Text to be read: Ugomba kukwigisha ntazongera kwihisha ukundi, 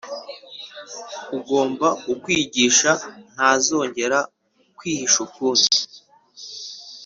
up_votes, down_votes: 2, 0